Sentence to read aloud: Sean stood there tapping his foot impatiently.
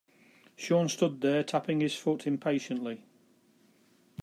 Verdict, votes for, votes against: accepted, 2, 0